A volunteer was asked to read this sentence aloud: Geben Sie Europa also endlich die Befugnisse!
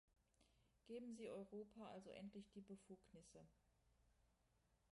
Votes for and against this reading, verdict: 0, 2, rejected